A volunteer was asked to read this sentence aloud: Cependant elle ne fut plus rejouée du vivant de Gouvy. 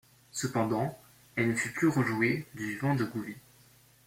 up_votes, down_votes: 2, 0